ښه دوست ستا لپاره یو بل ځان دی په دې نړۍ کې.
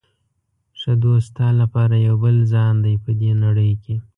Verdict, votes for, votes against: rejected, 1, 2